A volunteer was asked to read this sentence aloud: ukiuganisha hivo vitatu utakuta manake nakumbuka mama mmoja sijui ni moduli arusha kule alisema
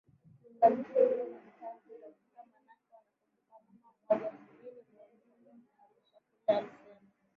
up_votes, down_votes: 0, 2